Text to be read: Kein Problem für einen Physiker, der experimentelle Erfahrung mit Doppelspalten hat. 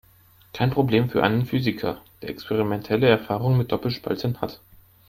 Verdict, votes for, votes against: rejected, 1, 2